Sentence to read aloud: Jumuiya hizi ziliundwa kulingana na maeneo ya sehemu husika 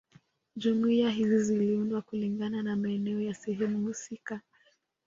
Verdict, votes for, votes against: rejected, 1, 2